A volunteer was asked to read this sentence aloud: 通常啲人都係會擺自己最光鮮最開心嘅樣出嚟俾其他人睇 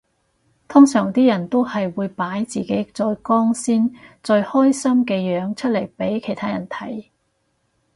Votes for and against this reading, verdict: 4, 0, accepted